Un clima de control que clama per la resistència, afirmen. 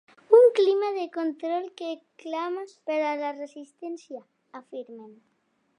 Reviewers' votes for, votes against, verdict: 1, 2, rejected